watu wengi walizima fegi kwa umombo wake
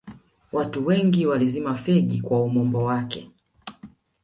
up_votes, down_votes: 0, 2